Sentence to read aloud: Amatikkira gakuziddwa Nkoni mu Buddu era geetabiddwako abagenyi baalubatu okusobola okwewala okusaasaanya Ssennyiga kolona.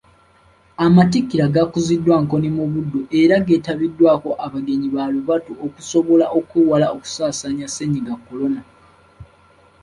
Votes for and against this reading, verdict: 3, 1, accepted